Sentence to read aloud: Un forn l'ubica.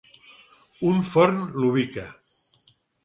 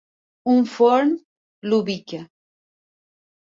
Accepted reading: first